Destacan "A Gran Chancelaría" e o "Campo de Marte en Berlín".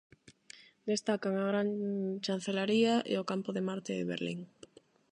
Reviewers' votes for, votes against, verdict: 0, 8, rejected